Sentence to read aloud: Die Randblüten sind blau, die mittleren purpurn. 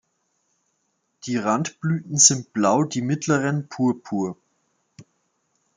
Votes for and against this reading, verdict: 0, 2, rejected